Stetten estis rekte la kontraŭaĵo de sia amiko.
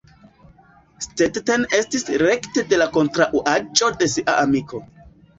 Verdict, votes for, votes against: accepted, 2, 0